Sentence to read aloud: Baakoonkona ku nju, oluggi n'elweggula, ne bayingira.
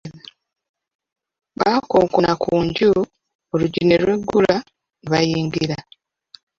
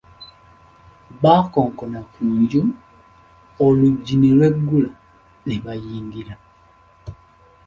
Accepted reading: second